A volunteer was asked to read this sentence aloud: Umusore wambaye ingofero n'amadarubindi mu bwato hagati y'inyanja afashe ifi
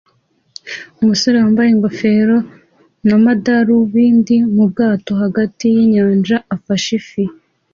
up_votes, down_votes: 2, 0